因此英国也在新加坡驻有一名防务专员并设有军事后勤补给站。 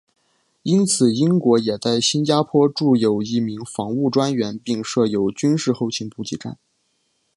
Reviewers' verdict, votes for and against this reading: accepted, 2, 0